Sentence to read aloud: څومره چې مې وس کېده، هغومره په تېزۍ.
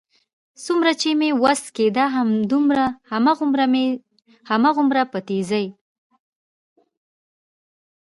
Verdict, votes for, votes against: rejected, 0, 2